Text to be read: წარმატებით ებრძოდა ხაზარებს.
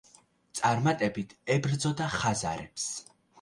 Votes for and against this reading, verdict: 2, 0, accepted